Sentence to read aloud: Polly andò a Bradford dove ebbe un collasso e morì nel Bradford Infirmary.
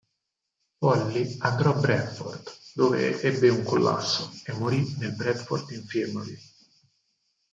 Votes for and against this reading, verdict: 0, 4, rejected